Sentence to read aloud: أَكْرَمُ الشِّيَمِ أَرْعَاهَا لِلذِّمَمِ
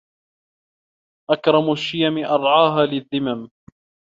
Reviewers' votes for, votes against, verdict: 2, 0, accepted